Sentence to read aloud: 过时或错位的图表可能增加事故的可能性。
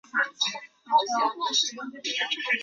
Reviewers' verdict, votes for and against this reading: rejected, 0, 6